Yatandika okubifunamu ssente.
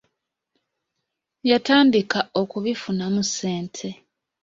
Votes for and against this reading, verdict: 2, 0, accepted